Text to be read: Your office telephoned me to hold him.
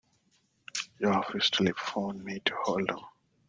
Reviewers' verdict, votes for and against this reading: rejected, 0, 2